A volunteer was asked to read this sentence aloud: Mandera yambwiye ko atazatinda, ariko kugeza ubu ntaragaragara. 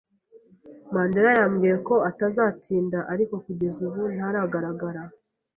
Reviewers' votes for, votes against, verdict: 2, 0, accepted